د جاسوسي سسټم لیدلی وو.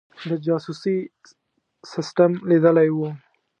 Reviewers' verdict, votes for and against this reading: accepted, 2, 0